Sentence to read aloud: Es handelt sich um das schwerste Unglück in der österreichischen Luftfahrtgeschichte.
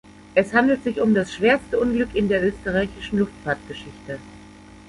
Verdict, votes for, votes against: accepted, 2, 0